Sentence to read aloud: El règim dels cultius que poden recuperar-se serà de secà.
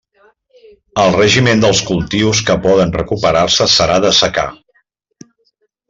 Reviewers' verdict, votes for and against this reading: rejected, 1, 2